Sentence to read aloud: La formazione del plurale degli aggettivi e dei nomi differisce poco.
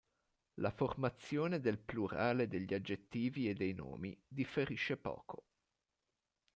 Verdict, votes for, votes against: accepted, 2, 0